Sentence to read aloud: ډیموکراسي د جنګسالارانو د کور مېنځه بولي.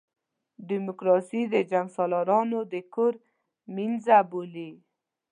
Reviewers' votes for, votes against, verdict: 2, 0, accepted